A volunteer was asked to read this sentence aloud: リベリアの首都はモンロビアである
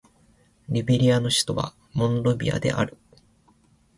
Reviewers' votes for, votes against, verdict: 6, 0, accepted